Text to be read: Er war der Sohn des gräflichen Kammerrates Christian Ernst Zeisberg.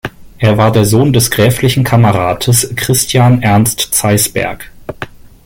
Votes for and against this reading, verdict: 2, 0, accepted